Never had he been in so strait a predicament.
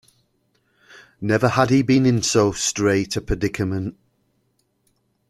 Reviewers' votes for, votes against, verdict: 1, 2, rejected